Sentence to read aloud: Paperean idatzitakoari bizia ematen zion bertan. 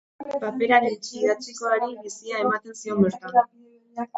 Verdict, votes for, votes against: rejected, 0, 2